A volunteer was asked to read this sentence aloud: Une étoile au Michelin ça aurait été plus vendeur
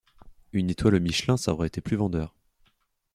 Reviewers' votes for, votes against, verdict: 2, 0, accepted